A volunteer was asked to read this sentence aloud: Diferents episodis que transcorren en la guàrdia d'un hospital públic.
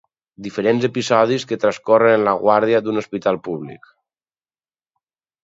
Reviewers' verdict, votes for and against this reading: accepted, 2, 0